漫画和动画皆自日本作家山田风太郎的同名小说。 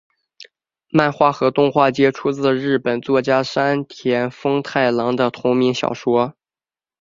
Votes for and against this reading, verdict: 4, 0, accepted